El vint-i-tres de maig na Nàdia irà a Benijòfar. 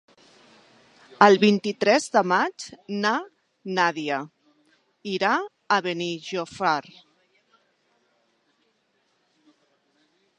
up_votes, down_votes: 0, 2